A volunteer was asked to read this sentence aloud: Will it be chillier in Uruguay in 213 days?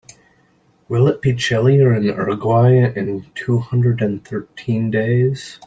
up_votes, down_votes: 0, 2